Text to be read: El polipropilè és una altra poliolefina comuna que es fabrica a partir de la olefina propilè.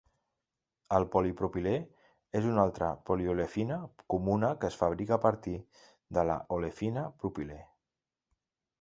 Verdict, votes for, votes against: accepted, 2, 0